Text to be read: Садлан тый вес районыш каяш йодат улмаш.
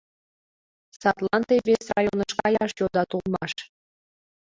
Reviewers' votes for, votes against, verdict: 0, 2, rejected